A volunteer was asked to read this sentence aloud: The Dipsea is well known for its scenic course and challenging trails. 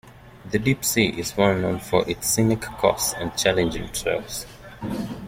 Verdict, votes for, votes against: rejected, 0, 2